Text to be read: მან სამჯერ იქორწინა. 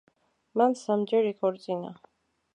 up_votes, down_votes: 2, 0